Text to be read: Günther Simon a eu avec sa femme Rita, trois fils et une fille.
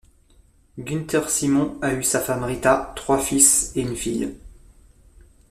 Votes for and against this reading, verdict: 1, 2, rejected